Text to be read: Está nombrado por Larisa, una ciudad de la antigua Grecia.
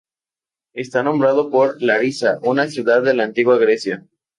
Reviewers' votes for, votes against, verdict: 0, 2, rejected